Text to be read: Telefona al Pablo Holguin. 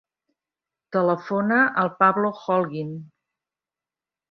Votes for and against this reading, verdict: 3, 0, accepted